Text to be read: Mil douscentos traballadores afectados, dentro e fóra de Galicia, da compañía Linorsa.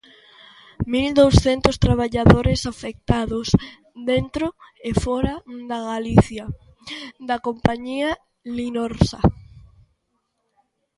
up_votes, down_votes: 0, 2